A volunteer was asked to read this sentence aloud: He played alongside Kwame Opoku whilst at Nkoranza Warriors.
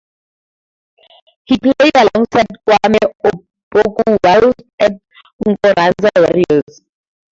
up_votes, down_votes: 0, 2